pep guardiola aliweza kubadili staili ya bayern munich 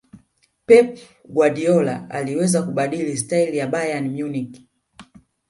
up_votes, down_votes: 7, 1